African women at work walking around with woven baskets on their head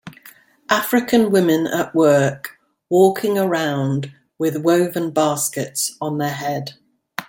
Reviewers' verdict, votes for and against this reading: accepted, 2, 0